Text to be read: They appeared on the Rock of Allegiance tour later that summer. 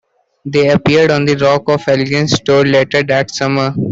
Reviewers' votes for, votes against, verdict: 2, 1, accepted